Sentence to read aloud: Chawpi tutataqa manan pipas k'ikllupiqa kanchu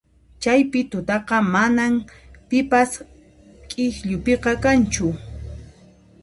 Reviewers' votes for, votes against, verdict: 1, 2, rejected